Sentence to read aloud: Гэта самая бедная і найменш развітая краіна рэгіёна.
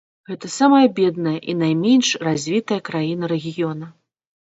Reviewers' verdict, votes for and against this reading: accepted, 2, 0